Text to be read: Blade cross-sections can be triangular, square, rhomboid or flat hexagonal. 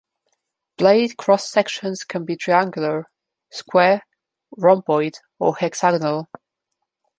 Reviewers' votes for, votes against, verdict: 0, 2, rejected